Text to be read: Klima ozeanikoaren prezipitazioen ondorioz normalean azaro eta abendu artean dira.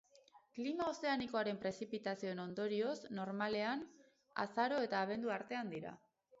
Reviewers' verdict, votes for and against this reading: accepted, 2, 0